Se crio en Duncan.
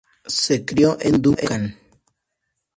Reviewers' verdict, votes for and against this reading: accepted, 2, 0